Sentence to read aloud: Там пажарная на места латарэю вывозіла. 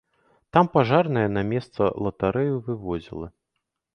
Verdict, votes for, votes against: rejected, 1, 2